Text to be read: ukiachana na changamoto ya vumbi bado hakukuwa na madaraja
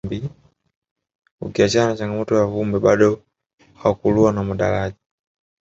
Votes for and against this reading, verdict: 1, 2, rejected